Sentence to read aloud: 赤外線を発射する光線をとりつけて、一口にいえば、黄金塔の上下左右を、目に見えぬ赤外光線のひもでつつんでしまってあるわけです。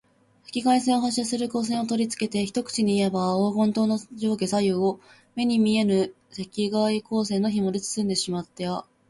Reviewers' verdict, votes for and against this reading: rejected, 1, 2